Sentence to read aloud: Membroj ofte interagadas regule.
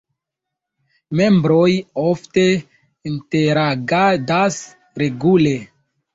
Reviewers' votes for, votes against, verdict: 2, 1, accepted